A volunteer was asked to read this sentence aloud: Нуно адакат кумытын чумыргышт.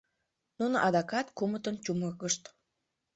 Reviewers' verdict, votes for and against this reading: accepted, 2, 0